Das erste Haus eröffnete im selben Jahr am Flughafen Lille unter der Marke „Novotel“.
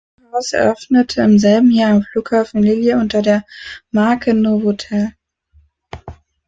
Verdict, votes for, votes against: rejected, 0, 2